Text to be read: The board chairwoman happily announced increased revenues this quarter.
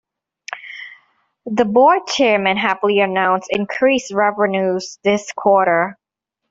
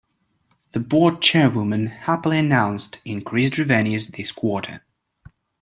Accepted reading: second